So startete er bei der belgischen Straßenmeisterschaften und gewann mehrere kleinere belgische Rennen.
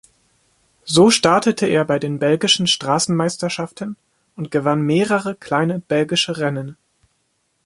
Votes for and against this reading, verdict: 1, 2, rejected